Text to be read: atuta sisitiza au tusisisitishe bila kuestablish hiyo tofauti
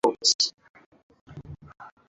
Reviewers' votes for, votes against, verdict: 0, 2, rejected